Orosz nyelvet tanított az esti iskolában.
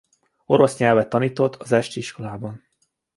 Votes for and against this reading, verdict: 2, 0, accepted